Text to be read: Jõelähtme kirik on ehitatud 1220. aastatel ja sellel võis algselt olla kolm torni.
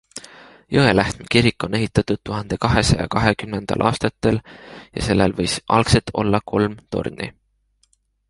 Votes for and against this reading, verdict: 0, 2, rejected